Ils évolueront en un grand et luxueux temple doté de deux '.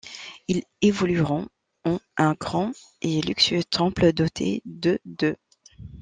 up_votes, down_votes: 1, 2